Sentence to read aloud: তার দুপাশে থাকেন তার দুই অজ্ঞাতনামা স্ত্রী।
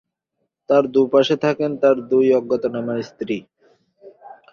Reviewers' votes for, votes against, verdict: 4, 0, accepted